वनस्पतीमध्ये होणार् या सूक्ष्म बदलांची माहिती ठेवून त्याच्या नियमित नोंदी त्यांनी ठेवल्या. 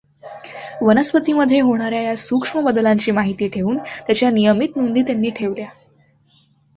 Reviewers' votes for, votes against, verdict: 2, 1, accepted